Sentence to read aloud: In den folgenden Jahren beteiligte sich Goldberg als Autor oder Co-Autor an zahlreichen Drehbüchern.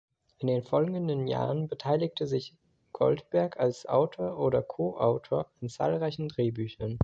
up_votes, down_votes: 2, 0